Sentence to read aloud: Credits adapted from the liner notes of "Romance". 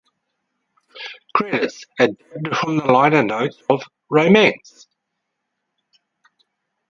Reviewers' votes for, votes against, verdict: 2, 4, rejected